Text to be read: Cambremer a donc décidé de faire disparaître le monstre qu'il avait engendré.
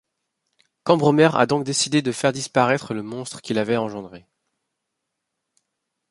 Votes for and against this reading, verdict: 2, 0, accepted